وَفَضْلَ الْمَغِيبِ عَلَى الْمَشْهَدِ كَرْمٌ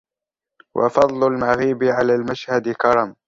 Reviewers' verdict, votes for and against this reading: rejected, 1, 2